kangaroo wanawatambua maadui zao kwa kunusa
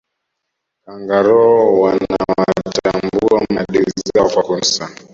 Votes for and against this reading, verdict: 1, 2, rejected